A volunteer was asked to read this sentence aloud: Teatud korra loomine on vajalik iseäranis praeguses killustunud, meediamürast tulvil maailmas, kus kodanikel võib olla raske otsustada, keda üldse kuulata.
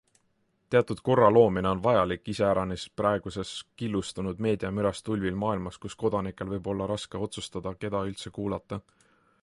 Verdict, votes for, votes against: accepted, 2, 0